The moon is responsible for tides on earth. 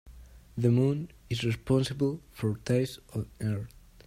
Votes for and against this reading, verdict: 2, 1, accepted